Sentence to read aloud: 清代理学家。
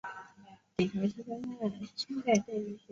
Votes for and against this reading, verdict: 0, 3, rejected